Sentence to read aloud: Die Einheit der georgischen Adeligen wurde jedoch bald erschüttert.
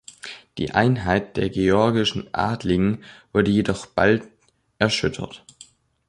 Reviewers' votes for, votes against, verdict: 2, 0, accepted